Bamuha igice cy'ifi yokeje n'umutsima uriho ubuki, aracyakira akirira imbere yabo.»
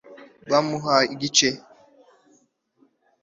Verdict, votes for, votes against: rejected, 1, 2